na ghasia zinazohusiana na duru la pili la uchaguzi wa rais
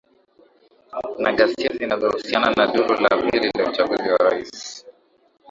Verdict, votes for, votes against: rejected, 1, 2